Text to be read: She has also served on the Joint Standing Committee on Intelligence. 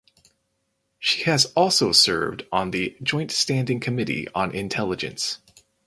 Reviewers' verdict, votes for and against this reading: accepted, 4, 0